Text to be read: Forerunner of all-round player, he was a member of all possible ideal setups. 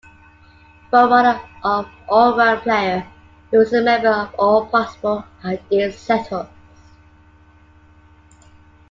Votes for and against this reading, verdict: 2, 1, accepted